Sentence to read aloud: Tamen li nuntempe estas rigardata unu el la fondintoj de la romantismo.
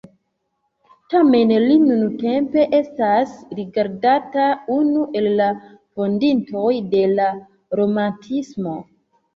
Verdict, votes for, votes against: accepted, 2, 0